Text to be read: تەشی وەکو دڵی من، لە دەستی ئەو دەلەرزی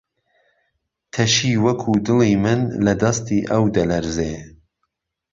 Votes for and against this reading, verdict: 1, 3, rejected